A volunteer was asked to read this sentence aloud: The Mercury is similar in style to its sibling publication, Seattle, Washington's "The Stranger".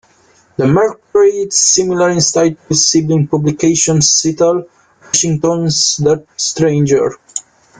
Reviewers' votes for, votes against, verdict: 0, 2, rejected